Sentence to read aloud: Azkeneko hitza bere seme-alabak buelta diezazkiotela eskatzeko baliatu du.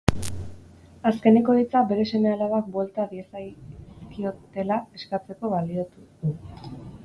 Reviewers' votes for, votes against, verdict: 0, 4, rejected